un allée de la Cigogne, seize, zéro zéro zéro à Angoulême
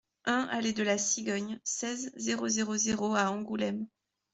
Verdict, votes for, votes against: accepted, 2, 0